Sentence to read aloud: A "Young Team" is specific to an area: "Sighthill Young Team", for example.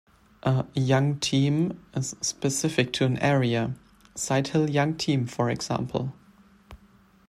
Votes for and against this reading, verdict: 2, 0, accepted